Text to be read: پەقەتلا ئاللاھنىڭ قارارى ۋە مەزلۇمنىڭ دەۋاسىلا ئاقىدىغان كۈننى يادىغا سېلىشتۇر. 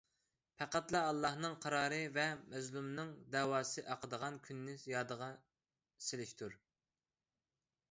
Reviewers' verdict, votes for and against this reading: rejected, 1, 2